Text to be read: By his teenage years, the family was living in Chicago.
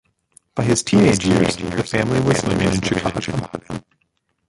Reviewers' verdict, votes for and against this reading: rejected, 0, 2